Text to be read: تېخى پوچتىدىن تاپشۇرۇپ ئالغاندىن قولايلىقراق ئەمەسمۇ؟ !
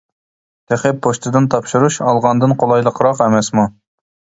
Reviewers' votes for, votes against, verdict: 1, 2, rejected